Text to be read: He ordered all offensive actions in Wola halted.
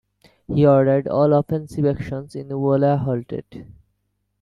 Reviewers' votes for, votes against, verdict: 2, 1, accepted